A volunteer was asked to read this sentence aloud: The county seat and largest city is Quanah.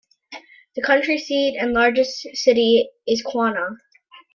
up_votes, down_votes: 1, 2